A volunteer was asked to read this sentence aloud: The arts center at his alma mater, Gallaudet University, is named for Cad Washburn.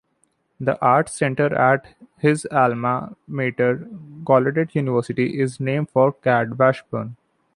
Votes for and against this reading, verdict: 2, 0, accepted